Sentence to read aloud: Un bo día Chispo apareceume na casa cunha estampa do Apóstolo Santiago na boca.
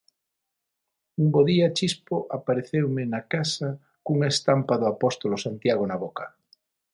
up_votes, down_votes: 6, 0